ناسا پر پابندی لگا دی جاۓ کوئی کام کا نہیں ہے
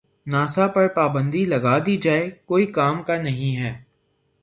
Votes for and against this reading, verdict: 0, 3, rejected